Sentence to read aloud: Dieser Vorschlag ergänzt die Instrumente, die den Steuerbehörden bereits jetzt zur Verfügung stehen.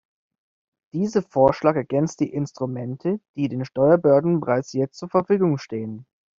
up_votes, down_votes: 1, 2